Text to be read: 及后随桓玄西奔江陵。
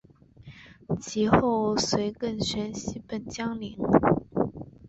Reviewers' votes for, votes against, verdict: 2, 1, accepted